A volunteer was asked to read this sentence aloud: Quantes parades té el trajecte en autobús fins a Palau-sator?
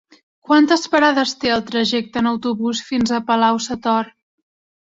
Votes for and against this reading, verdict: 4, 0, accepted